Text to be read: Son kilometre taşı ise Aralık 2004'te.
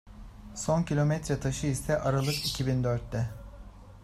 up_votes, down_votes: 0, 2